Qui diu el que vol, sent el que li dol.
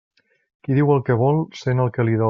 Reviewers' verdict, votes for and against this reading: rejected, 0, 2